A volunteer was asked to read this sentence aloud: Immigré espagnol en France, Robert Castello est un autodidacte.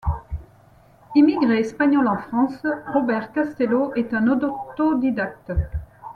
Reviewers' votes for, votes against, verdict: 1, 2, rejected